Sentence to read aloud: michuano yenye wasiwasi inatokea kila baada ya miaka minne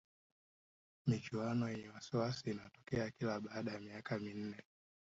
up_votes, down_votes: 1, 2